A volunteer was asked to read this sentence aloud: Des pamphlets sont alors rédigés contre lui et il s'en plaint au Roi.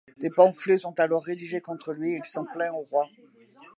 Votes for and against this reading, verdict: 2, 0, accepted